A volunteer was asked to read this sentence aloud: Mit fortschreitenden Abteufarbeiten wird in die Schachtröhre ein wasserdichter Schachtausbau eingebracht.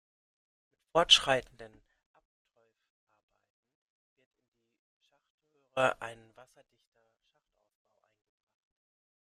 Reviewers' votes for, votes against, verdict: 0, 2, rejected